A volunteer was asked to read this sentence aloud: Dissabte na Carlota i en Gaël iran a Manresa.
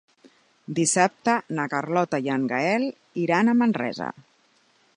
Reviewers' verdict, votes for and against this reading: accepted, 3, 0